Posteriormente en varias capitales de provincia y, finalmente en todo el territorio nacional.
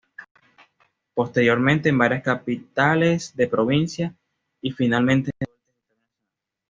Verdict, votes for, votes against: rejected, 1, 2